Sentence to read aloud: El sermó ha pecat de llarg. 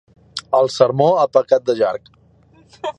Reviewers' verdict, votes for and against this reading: rejected, 1, 2